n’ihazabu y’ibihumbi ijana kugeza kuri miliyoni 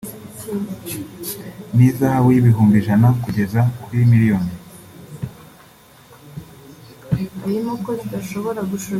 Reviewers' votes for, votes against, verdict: 1, 2, rejected